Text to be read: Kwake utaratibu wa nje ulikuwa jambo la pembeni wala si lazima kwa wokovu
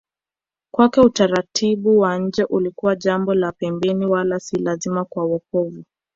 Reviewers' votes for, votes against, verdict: 2, 1, accepted